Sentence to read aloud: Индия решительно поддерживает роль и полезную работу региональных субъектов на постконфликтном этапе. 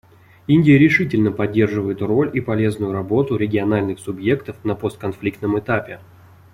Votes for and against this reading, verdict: 2, 0, accepted